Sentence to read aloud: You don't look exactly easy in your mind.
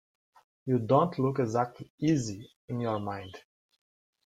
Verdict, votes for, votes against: accepted, 2, 0